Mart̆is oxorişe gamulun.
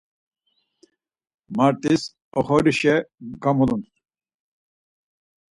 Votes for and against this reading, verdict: 4, 0, accepted